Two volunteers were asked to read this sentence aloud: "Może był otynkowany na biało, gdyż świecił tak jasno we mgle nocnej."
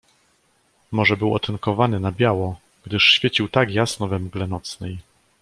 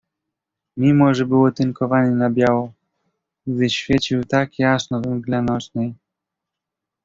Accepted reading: first